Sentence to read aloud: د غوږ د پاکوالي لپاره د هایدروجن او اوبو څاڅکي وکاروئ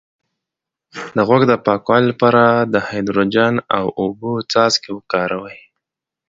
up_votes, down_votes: 2, 0